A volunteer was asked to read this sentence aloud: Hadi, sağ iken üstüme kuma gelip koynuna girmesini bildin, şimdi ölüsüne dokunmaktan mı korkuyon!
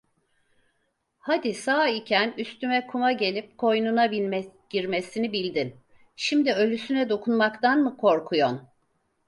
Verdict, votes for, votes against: rejected, 0, 4